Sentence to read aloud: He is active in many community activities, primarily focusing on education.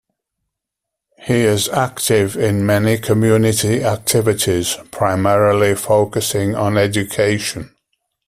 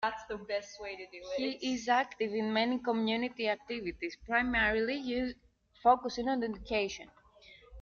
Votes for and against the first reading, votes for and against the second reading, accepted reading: 2, 0, 1, 2, first